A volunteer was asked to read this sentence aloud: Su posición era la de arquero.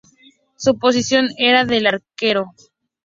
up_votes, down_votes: 0, 2